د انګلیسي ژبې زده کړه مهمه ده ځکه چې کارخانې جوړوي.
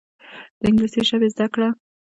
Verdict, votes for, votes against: rejected, 1, 2